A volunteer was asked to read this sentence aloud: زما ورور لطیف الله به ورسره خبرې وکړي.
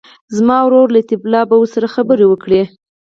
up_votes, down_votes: 4, 0